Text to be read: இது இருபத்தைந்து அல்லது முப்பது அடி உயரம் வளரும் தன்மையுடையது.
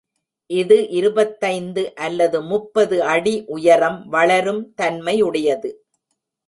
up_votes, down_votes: 1, 2